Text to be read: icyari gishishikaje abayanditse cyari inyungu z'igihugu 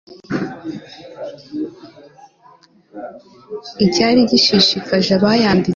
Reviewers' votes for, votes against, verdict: 0, 2, rejected